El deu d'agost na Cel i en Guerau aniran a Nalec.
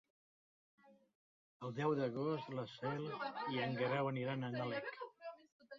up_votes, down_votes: 0, 2